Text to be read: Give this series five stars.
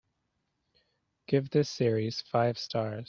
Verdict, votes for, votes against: accepted, 4, 0